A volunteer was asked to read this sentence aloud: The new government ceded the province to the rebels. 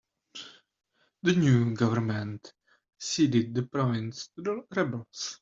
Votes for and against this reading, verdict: 1, 2, rejected